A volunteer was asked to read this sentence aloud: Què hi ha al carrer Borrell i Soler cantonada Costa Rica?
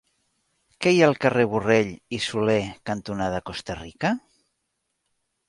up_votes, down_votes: 4, 0